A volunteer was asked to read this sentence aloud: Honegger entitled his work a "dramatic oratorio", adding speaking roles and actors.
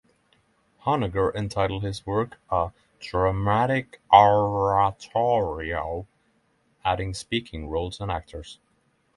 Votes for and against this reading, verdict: 6, 0, accepted